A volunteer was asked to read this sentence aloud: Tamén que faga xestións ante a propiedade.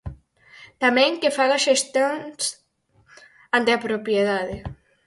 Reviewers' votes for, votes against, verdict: 0, 4, rejected